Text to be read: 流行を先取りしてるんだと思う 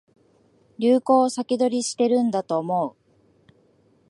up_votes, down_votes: 2, 0